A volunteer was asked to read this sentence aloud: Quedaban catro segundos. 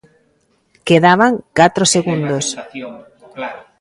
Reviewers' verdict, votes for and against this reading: rejected, 1, 2